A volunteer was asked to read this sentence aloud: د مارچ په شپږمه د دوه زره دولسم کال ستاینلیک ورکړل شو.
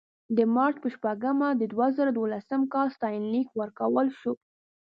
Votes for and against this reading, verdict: 1, 2, rejected